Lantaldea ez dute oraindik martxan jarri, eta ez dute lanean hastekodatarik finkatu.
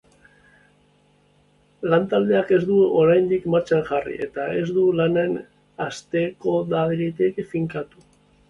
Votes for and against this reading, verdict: 0, 3, rejected